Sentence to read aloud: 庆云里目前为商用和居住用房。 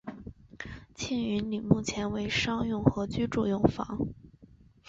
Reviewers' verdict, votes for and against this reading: accepted, 3, 0